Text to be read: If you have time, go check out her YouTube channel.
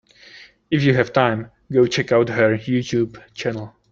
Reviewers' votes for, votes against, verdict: 3, 0, accepted